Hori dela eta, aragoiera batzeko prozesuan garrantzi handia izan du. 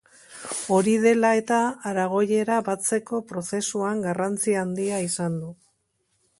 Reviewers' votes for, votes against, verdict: 4, 0, accepted